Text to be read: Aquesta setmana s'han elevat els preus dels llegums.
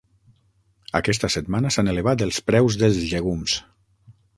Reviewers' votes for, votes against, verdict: 9, 3, accepted